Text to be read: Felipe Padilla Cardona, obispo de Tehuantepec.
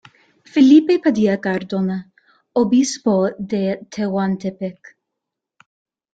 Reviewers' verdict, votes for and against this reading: rejected, 0, 2